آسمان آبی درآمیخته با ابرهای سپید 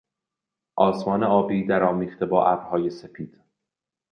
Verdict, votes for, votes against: accepted, 2, 0